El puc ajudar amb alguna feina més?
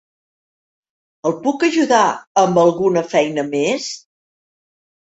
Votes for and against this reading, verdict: 3, 0, accepted